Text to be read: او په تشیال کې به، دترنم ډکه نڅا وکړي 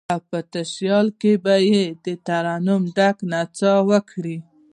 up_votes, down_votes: 1, 2